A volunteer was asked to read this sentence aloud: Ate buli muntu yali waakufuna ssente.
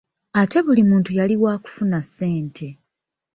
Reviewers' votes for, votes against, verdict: 2, 0, accepted